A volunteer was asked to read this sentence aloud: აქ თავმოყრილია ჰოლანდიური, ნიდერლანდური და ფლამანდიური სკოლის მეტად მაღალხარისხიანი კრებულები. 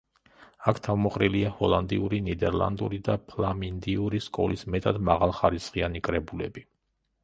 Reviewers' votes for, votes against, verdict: 1, 2, rejected